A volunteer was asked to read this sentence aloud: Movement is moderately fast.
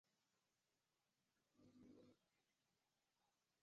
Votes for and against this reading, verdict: 0, 2, rejected